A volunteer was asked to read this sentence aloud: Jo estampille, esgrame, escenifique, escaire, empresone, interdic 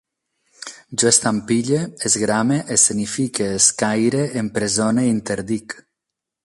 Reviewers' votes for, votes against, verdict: 4, 0, accepted